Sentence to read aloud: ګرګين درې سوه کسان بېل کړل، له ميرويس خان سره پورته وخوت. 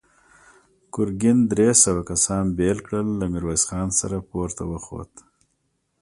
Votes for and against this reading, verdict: 2, 0, accepted